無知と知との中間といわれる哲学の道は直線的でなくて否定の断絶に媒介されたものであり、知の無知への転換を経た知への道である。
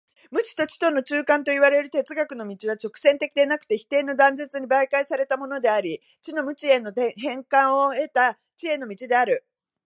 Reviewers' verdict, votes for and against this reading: rejected, 0, 2